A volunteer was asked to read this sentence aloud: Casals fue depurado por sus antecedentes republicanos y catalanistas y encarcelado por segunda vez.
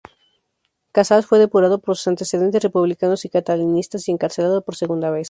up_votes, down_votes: 4, 0